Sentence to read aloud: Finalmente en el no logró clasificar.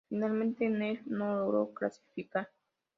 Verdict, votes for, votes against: accepted, 2, 0